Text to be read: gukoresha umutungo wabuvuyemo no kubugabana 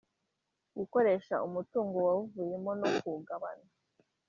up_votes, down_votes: 0, 2